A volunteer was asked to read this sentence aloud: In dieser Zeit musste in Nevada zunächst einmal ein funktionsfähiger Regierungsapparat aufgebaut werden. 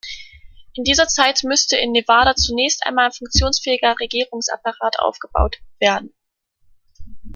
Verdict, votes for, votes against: rejected, 0, 2